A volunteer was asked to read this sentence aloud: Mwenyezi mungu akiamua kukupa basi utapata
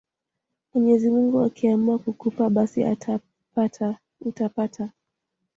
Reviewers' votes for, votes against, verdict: 0, 2, rejected